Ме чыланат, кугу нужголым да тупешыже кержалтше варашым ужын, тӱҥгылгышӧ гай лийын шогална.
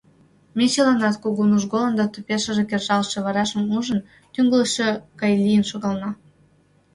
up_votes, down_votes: 1, 2